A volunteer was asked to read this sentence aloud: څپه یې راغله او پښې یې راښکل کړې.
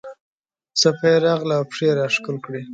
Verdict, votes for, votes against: accepted, 2, 0